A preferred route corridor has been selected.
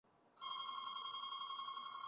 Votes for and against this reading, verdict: 0, 2, rejected